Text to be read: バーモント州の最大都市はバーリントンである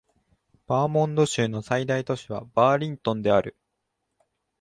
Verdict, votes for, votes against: accepted, 2, 1